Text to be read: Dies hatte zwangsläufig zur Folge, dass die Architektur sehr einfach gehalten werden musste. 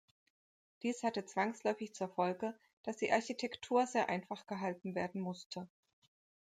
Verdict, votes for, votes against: accepted, 2, 0